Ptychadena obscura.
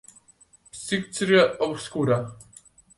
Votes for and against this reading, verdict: 0, 2, rejected